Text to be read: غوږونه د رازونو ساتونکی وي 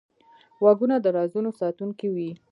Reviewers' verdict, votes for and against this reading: accepted, 2, 1